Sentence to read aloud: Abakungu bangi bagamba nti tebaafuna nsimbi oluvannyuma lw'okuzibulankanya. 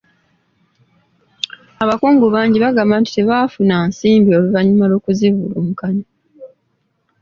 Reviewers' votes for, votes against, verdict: 2, 0, accepted